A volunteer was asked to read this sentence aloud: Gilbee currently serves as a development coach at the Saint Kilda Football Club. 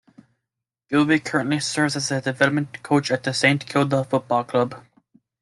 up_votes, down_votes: 2, 0